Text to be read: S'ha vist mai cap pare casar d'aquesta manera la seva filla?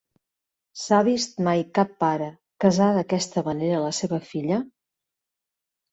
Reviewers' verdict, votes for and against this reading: accepted, 2, 0